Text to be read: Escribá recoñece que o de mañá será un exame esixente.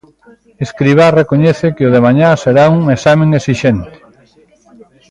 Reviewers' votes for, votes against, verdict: 0, 2, rejected